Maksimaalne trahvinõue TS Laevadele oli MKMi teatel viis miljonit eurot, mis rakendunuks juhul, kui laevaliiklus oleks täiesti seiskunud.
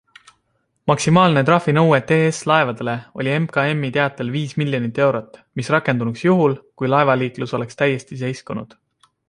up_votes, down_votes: 2, 0